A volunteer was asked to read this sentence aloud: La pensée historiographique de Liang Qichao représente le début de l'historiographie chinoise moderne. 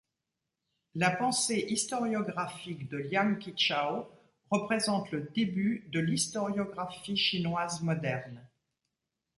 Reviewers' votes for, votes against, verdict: 2, 0, accepted